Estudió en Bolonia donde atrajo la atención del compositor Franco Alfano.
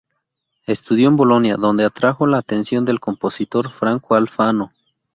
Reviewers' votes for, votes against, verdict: 2, 0, accepted